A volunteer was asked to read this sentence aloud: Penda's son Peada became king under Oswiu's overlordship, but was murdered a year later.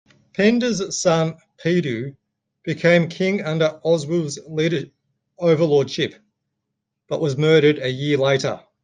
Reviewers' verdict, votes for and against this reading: rejected, 0, 2